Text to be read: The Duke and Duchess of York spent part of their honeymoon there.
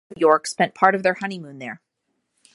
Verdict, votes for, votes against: rejected, 0, 2